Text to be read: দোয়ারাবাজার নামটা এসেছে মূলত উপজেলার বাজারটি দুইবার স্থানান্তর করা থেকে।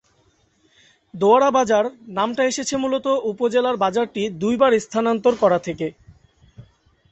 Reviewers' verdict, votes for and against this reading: accepted, 2, 0